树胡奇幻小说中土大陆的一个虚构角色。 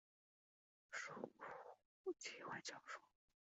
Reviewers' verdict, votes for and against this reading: rejected, 0, 3